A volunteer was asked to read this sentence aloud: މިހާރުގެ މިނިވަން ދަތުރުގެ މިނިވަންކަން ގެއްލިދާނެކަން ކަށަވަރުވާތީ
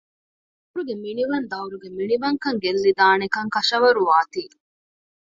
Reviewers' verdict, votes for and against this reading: rejected, 1, 2